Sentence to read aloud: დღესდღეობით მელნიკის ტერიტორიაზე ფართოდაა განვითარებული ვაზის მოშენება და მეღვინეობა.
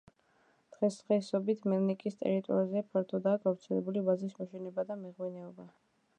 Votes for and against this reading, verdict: 0, 2, rejected